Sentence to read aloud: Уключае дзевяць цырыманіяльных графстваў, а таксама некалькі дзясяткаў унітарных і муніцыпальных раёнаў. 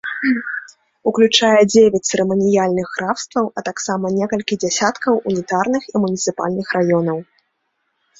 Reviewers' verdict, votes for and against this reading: accepted, 2, 0